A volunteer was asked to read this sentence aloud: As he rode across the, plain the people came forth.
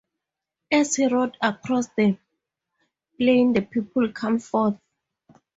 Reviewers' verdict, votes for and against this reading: rejected, 0, 2